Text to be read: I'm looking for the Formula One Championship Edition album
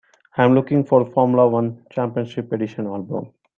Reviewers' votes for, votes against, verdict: 3, 1, accepted